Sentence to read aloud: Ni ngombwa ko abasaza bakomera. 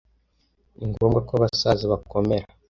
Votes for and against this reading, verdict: 2, 0, accepted